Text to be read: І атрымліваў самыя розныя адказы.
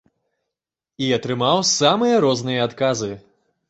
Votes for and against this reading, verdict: 0, 2, rejected